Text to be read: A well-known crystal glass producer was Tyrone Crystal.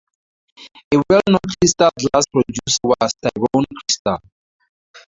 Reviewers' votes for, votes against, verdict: 0, 2, rejected